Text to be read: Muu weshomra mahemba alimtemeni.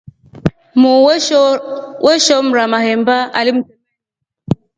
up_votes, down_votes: 0, 2